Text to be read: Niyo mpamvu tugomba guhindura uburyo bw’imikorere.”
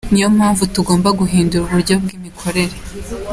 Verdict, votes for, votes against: accepted, 2, 0